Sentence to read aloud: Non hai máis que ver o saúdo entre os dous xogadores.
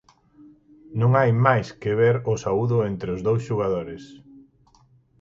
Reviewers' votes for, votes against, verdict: 2, 4, rejected